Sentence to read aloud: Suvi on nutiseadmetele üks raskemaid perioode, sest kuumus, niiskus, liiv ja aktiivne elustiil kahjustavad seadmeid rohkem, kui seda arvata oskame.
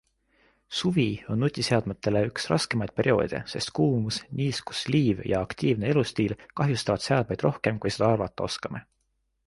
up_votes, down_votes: 2, 0